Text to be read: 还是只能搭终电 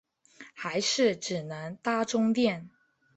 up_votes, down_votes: 2, 0